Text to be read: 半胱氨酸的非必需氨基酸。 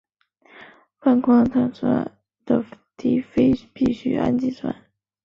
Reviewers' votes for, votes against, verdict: 0, 5, rejected